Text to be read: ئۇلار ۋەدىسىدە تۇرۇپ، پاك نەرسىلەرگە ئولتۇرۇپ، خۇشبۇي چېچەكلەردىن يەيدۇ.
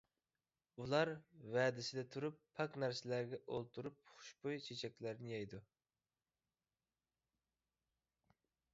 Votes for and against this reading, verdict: 2, 0, accepted